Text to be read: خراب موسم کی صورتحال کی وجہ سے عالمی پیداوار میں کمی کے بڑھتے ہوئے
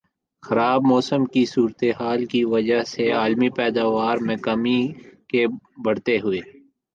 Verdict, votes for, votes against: accepted, 2, 1